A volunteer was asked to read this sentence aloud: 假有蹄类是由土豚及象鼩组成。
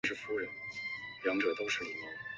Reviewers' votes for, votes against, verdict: 0, 5, rejected